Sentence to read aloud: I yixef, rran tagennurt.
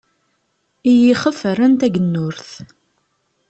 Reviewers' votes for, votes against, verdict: 2, 0, accepted